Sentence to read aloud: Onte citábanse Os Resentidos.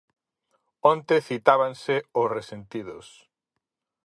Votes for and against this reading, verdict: 4, 0, accepted